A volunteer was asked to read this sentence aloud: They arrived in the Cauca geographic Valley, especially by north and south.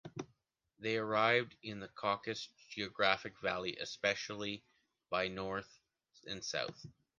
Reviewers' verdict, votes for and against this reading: accepted, 2, 1